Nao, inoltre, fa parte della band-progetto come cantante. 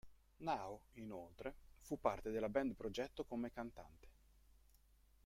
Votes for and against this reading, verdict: 0, 2, rejected